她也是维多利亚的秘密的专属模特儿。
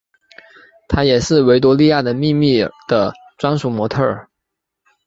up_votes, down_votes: 2, 0